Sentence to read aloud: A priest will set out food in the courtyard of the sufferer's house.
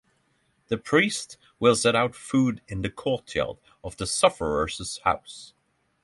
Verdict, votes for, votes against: rejected, 3, 6